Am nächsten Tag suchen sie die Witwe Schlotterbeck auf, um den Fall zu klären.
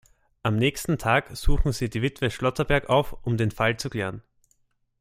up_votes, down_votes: 0, 2